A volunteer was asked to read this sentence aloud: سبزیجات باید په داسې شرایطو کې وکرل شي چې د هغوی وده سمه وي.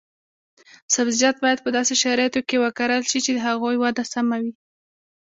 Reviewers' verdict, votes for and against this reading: accepted, 2, 0